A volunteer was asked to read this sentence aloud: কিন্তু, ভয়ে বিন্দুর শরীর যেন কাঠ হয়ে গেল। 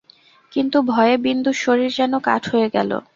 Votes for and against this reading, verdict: 2, 0, accepted